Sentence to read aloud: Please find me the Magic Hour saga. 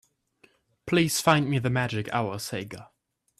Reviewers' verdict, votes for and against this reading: rejected, 1, 2